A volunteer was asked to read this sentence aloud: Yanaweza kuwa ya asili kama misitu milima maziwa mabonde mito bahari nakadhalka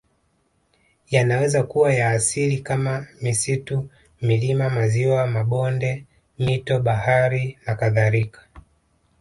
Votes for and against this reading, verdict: 2, 1, accepted